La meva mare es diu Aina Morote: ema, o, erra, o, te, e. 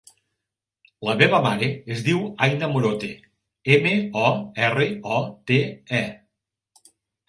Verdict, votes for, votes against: accepted, 3, 0